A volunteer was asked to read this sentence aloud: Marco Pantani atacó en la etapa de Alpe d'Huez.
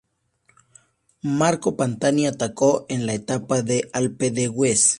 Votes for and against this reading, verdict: 2, 0, accepted